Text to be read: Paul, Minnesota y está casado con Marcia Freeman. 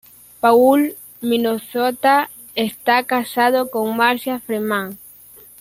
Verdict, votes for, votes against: rejected, 0, 2